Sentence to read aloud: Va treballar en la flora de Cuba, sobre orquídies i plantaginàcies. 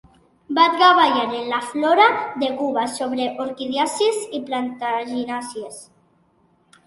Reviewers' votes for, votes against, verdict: 0, 2, rejected